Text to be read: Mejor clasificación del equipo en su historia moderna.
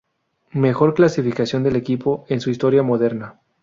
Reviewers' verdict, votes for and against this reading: accepted, 2, 0